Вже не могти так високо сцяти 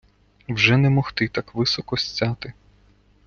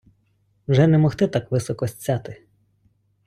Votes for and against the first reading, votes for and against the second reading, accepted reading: 2, 0, 1, 2, first